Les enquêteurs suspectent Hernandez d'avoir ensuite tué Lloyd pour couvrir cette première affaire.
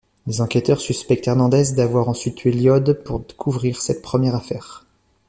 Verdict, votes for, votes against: accepted, 2, 1